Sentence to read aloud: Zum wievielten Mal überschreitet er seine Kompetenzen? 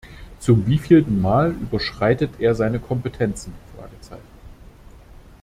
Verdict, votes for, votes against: rejected, 0, 2